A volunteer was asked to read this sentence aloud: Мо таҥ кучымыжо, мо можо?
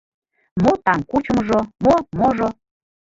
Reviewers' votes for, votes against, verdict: 1, 2, rejected